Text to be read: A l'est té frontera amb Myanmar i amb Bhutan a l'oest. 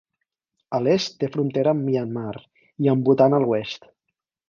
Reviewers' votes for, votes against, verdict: 4, 0, accepted